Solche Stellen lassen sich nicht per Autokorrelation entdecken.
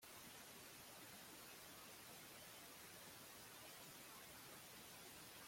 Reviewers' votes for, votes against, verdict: 0, 2, rejected